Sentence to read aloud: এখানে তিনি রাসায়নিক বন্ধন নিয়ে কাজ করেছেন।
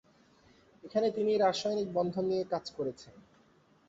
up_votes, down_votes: 1, 2